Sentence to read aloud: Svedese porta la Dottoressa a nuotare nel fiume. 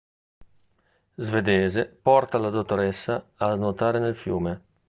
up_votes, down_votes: 2, 0